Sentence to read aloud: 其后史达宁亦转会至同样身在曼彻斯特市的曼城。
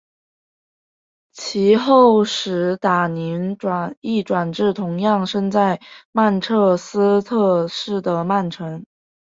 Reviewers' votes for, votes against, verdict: 1, 3, rejected